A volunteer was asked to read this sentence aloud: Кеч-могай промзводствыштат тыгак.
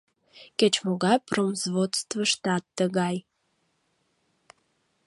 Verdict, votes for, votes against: rejected, 1, 2